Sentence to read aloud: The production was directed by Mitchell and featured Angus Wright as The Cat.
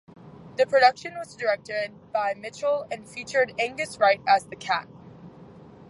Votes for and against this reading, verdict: 2, 0, accepted